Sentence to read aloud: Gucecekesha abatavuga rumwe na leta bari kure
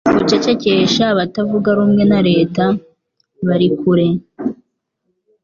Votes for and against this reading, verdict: 2, 0, accepted